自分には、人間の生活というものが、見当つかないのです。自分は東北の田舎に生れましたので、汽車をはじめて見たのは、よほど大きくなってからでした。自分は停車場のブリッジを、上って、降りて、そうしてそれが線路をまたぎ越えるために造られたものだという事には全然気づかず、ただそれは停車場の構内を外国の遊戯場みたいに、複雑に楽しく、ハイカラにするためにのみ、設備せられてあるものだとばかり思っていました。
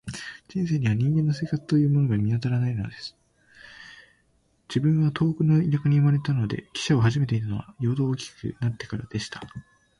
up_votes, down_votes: 0, 4